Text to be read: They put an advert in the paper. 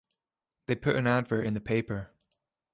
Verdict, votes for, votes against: accepted, 2, 1